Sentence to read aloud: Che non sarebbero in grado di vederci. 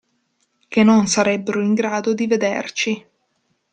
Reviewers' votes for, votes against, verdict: 2, 0, accepted